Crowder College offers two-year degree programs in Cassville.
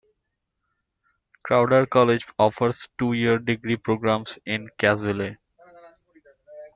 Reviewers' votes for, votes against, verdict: 1, 2, rejected